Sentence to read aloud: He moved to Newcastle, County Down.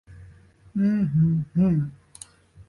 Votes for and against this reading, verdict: 0, 2, rejected